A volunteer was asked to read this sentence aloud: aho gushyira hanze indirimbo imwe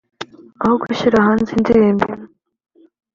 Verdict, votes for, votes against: accepted, 2, 0